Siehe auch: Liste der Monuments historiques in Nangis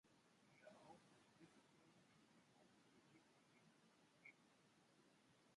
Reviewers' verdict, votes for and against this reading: rejected, 0, 2